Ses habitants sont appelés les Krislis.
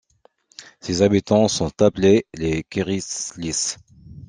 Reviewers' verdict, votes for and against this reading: rejected, 1, 2